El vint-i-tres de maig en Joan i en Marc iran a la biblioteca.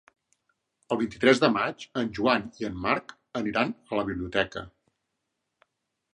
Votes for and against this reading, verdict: 0, 2, rejected